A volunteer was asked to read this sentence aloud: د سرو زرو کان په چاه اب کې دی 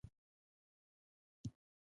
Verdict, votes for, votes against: rejected, 1, 2